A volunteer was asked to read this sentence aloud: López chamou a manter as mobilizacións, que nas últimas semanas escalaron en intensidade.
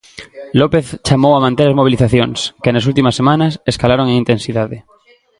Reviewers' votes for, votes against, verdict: 1, 2, rejected